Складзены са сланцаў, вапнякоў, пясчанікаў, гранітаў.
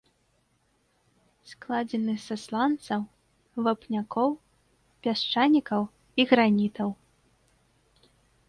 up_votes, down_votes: 0, 2